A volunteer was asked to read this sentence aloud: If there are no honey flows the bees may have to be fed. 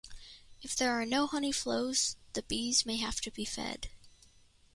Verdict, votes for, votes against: accepted, 2, 0